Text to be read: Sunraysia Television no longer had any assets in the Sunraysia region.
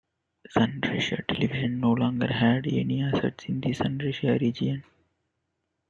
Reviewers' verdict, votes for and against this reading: accepted, 2, 0